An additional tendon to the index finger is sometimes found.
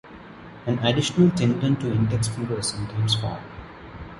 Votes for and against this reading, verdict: 0, 2, rejected